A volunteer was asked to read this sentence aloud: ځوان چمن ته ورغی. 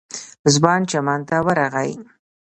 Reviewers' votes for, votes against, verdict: 2, 0, accepted